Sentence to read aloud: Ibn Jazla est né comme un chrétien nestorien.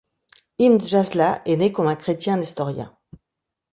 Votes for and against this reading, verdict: 2, 1, accepted